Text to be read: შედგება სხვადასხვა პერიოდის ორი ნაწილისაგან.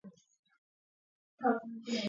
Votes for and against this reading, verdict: 1, 2, rejected